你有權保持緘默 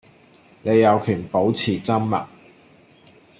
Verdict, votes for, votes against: accepted, 2, 0